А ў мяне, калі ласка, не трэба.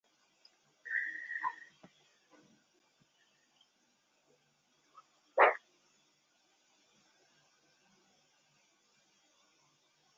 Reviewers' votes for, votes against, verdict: 0, 2, rejected